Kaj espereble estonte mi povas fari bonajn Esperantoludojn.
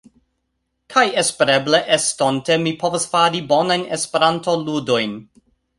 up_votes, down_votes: 1, 2